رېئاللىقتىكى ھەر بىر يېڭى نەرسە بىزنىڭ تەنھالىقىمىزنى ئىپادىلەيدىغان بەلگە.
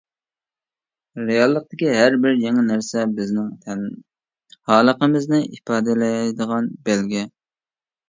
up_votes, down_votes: 1, 2